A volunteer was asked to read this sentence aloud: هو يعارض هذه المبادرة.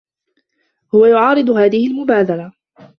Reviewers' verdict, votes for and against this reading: accepted, 2, 1